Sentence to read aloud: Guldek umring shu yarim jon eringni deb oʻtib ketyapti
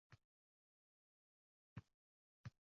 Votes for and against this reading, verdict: 1, 2, rejected